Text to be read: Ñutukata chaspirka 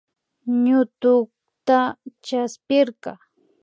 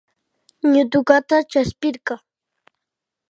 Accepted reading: second